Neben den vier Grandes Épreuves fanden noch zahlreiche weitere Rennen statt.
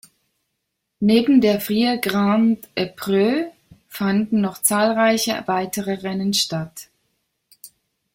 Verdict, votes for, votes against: rejected, 0, 3